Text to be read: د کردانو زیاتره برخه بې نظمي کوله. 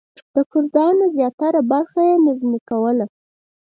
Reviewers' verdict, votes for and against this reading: rejected, 2, 4